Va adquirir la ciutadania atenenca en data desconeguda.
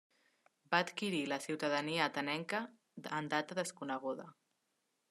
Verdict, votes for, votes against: accepted, 2, 1